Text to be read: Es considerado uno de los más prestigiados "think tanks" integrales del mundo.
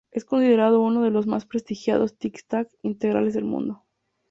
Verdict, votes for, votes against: rejected, 0, 2